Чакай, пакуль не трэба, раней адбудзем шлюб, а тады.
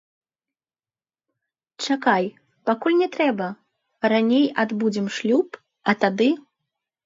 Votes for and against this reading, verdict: 0, 2, rejected